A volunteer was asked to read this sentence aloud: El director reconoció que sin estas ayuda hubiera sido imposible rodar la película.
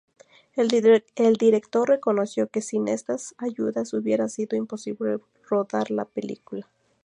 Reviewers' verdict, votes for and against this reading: accepted, 4, 0